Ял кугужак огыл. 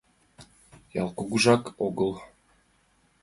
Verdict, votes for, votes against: accepted, 2, 0